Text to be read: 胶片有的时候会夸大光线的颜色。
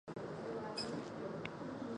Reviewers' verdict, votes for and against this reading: rejected, 2, 3